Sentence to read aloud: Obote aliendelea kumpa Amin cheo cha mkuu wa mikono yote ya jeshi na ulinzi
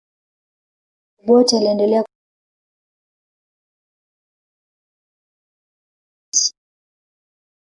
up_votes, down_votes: 0, 2